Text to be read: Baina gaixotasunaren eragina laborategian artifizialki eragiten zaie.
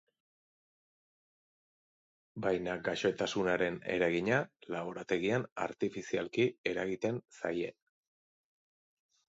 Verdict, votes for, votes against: accepted, 2, 0